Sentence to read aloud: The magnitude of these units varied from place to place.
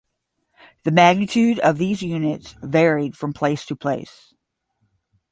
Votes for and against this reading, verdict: 5, 0, accepted